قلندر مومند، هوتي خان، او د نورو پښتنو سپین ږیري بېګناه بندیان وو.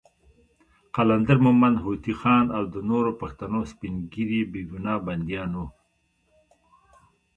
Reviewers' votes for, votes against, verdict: 2, 0, accepted